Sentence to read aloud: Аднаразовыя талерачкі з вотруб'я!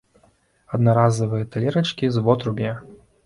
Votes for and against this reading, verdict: 1, 2, rejected